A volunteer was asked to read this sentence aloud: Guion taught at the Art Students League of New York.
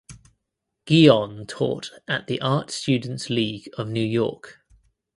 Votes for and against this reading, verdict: 3, 0, accepted